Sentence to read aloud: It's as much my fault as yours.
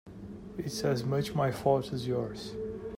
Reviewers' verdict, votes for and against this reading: accepted, 2, 0